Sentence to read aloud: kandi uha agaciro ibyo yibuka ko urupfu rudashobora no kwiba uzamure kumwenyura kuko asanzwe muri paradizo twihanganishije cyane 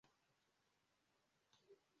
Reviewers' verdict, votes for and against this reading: rejected, 0, 2